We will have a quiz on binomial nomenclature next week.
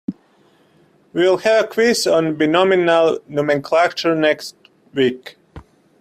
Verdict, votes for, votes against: rejected, 1, 2